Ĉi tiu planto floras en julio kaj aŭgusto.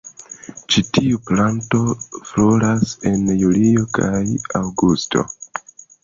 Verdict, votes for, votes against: accepted, 2, 0